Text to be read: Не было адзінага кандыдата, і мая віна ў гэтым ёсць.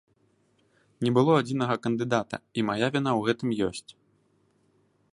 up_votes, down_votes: 2, 0